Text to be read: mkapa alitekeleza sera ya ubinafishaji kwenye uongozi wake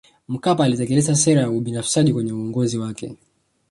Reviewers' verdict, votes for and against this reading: rejected, 1, 2